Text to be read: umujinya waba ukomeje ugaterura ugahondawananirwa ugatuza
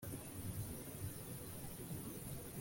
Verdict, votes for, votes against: rejected, 0, 2